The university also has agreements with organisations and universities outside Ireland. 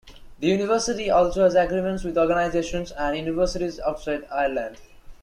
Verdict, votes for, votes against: accepted, 2, 0